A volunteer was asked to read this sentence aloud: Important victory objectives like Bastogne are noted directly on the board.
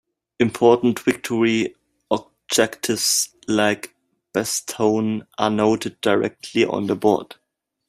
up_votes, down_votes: 1, 2